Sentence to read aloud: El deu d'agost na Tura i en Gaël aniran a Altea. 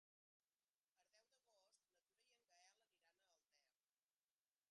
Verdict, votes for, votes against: rejected, 0, 2